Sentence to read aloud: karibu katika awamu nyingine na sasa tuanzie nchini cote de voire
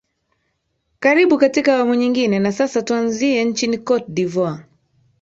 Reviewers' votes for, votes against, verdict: 2, 0, accepted